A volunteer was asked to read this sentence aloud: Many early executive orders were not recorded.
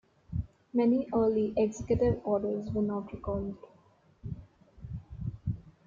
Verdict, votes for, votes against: accepted, 2, 1